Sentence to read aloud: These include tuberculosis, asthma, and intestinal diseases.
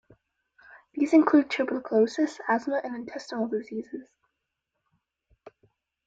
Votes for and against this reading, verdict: 1, 2, rejected